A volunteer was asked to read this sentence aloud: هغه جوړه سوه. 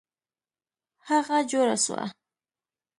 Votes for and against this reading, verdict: 2, 0, accepted